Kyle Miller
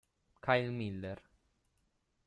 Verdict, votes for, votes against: accepted, 2, 0